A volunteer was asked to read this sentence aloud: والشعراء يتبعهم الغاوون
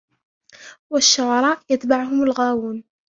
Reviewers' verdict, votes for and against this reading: accepted, 2, 0